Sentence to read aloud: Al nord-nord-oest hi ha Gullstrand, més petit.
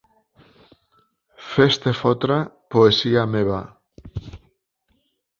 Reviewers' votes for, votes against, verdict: 1, 2, rejected